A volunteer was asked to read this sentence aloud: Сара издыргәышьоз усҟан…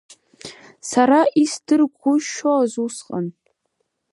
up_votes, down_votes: 0, 2